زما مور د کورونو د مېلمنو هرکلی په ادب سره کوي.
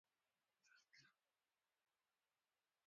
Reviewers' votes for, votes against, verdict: 1, 2, rejected